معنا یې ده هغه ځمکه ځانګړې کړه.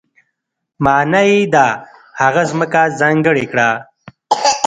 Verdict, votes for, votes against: rejected, 0, 2